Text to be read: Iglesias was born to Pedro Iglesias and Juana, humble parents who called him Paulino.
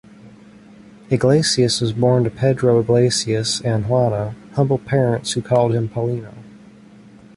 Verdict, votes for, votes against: accepted, 2, 0